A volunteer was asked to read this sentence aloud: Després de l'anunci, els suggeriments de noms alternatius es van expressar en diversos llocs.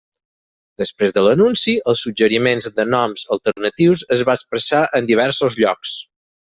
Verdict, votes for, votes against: rejected, 0, 4